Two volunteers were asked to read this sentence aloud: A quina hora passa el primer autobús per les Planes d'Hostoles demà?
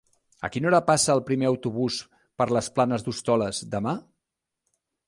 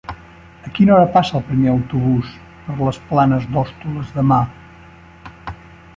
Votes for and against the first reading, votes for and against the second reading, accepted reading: 3, 0, 1, 2, first